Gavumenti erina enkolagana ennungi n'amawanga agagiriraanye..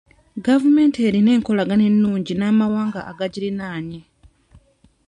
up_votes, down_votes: 2, 0